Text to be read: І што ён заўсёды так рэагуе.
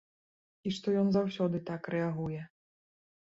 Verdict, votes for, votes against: rejected, 1, 2